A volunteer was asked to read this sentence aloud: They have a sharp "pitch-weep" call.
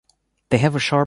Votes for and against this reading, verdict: 0, 2, rejected